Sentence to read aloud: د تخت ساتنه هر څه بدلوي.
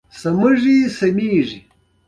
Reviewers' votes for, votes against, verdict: 1, 2, rejected